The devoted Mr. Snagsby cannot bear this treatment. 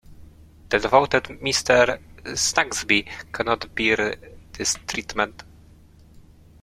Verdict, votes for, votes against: accepted, 2, 1